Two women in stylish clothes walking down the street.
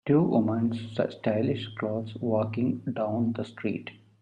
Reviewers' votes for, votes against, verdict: 1, 2, rejected